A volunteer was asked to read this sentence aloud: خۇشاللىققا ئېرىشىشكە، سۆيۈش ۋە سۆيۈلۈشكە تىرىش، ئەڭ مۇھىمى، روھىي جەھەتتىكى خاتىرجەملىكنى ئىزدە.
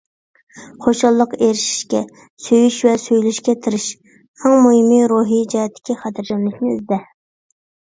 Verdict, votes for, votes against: accepted, 2, 0